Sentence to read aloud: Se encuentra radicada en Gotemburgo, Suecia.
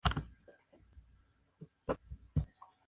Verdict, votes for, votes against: rejected, 0, 2